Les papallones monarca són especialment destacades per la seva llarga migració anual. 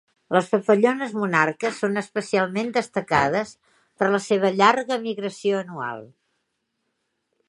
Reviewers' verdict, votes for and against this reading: accepted, 2, 1